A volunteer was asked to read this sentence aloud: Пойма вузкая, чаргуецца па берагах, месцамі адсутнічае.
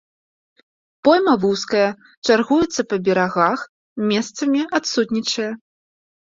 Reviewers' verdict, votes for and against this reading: accepted, 2, 0